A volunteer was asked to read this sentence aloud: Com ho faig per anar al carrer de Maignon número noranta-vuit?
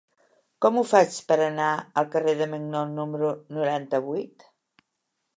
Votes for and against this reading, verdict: 2, 0, accepted